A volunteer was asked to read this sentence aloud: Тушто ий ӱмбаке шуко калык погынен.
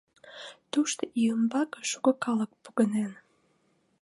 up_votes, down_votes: 3, 0